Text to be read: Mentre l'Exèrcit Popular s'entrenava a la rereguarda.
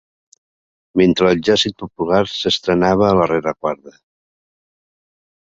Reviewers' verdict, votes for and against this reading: rejected, 0, 2